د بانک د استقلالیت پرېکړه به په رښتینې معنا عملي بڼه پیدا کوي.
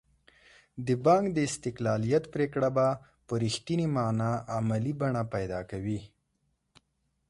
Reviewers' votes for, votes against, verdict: 2, 0, accepted